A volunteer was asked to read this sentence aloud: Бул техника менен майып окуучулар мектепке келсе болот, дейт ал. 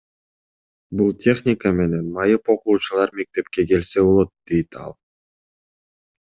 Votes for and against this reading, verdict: 2, 0, accepted